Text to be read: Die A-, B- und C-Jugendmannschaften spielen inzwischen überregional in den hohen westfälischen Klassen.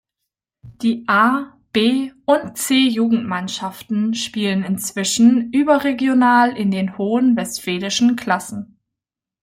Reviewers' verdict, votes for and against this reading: accepted, 2, 0